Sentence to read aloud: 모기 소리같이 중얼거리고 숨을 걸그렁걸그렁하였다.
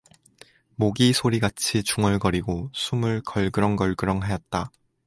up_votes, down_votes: 2, 2